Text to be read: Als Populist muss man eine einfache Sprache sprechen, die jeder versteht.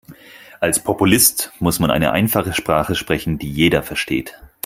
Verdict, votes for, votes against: accepted, 4, 0